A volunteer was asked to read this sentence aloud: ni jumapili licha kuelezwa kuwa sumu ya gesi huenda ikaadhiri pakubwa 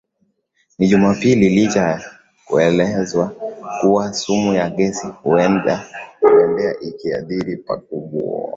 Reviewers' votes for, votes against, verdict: 0, 5, rejected